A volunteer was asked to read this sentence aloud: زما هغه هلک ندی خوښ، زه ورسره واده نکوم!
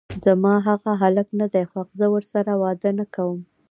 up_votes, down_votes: 1, 2